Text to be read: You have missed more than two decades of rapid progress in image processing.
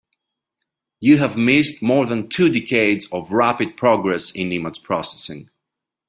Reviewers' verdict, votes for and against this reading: accepted, 3, 0